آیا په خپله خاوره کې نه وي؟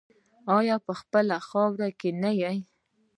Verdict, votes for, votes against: rejected, 0, 2